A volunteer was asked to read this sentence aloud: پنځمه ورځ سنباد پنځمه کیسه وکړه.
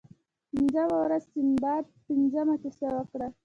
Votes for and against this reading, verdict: 2, 1, accepted